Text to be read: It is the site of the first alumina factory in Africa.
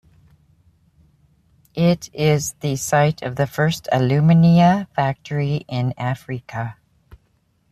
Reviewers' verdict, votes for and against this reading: accepted, 2, 0